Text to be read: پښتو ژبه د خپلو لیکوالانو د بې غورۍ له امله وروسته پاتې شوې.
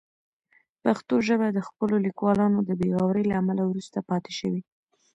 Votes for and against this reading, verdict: 1, 2, rejected